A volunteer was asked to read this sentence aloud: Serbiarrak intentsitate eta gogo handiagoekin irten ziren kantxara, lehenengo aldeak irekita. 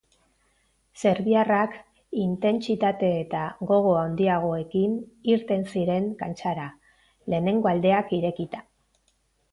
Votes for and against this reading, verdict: 2, 0, accepted